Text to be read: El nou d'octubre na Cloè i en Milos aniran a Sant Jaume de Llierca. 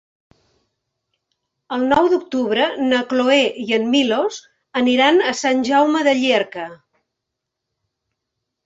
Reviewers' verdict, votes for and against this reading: accepted, 3, 1